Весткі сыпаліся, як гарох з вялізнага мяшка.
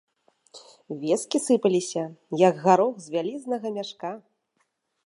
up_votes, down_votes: 2, 0